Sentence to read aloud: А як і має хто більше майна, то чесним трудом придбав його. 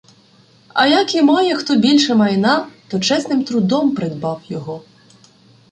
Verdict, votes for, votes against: rejected, 1, 2